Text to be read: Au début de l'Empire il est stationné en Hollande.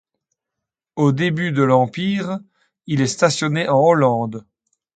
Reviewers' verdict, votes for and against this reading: accepted, 2, 0